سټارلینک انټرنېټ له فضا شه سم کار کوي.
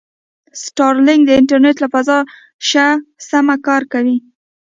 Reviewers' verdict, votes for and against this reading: rejected, 1, 2